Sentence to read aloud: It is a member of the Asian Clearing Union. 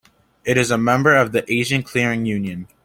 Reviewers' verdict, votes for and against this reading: accepted, 2, 0